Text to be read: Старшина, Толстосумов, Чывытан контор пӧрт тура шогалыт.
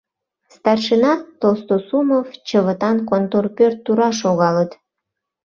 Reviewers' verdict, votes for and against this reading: accepted, 2, 0